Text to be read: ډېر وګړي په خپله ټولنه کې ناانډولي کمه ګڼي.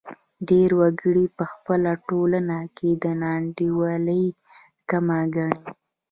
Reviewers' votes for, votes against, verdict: 0, 2, rejected